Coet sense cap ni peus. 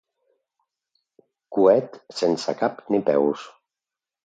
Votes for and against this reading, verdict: 2, 0, accepted